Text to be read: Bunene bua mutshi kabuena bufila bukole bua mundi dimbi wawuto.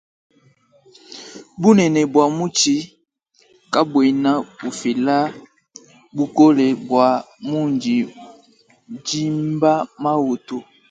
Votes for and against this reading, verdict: 0, 2, rejected